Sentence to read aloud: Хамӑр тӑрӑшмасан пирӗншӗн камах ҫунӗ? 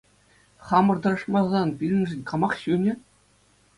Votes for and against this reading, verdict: 2, 0, accepted